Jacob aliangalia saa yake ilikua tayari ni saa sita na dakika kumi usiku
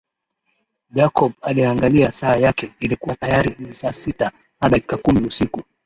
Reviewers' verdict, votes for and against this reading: accepted, 2, 0